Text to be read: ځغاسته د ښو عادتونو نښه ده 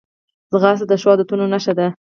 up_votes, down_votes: 0, 4